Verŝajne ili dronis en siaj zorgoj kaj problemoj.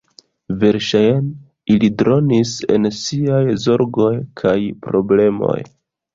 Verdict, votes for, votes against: rejected, 1, 2